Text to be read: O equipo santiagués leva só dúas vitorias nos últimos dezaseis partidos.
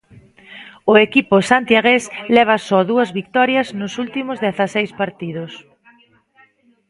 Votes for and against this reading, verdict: 2, 1, accepted